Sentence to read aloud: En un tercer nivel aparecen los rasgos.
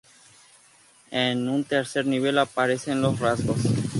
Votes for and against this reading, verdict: 0, 2, rejected